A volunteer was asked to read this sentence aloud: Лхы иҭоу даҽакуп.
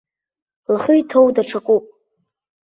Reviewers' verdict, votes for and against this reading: accepted, 2, 0